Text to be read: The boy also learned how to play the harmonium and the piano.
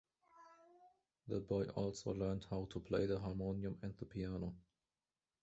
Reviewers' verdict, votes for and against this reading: rejected, 1, 2